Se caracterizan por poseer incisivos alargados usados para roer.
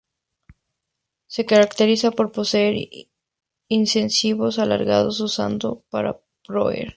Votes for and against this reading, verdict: 0, 2, rejected